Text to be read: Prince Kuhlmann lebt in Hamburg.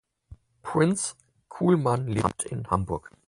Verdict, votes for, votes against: rejected, 0, 4